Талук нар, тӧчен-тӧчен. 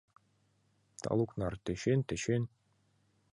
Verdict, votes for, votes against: accepted, 2, 0